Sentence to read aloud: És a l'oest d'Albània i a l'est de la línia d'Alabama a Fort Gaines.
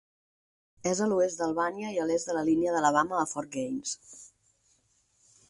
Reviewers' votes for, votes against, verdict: 4, 0, accepted